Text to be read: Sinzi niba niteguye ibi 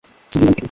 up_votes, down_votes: 1, 2